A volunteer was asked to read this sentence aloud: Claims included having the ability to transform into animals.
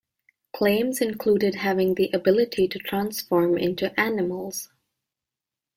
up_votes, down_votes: 2, 0